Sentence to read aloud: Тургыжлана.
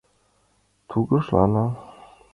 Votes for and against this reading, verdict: 2, 0, accepted